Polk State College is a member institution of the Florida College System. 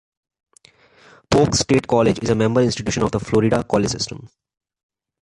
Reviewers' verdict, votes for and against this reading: accepted, 3, 0